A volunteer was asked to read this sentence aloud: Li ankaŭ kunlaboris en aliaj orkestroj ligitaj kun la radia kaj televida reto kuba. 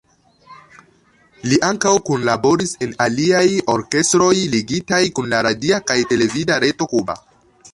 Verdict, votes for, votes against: rejected, 0, 2